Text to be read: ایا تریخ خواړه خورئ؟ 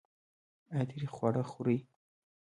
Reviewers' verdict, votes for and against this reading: accepted, 2, 0